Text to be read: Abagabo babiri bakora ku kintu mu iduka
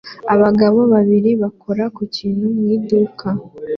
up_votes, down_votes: 2, 1